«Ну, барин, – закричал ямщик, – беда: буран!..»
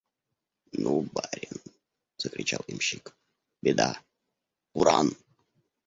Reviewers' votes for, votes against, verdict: 0, 2, rejected